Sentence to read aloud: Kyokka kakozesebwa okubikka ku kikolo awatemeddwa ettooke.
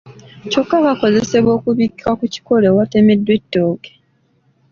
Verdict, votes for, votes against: accepted, 2, 0